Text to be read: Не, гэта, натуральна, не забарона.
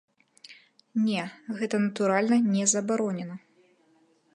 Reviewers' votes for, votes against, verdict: 1, 2, rejected